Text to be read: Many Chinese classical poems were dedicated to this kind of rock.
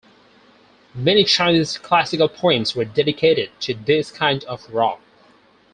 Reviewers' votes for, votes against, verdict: 2, 0, accepted